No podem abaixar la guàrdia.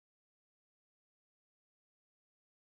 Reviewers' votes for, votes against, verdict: 0, 2, rejected